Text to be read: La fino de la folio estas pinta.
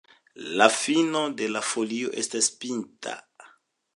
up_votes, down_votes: 2, 0